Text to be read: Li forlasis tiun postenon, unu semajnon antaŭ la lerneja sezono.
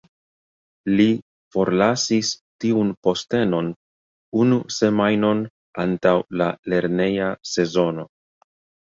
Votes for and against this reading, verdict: 1, 2, rejected